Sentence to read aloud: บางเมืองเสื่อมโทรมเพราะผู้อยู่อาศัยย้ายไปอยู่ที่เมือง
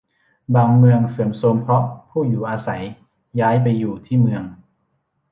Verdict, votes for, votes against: accepted, 2, 1